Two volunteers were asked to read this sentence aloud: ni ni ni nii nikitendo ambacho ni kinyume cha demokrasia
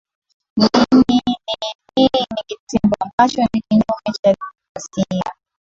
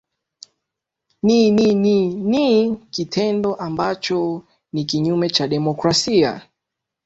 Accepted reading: second